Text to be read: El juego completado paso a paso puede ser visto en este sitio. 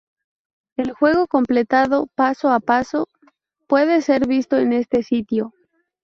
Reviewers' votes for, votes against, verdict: 2, 0, accepted